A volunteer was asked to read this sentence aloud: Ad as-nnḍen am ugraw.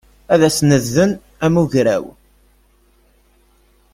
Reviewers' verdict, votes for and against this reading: rejected, 0, 2